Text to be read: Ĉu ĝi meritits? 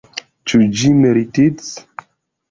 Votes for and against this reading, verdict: 1, 2, rejected